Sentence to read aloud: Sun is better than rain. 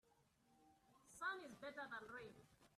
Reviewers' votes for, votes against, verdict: 3, 0, accepted